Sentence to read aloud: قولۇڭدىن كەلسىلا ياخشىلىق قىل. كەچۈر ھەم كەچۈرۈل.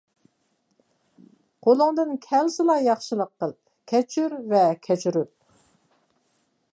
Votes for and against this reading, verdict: 2, 0, accepted